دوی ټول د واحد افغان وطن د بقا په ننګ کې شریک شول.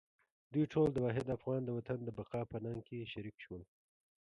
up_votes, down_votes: 3, 2